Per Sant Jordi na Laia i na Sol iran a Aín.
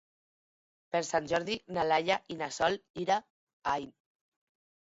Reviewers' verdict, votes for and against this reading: rejected, 2, 6